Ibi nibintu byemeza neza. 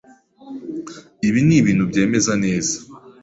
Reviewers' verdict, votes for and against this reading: accepted, 2, 0